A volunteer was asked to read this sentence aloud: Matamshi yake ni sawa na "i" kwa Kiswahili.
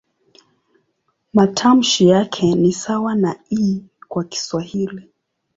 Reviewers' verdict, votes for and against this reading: accepted, 2, 0